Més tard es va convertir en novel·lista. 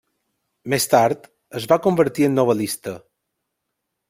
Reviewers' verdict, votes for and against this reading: accepted, 3, 0